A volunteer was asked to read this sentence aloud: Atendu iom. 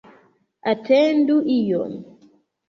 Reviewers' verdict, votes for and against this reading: accepted, 2, 1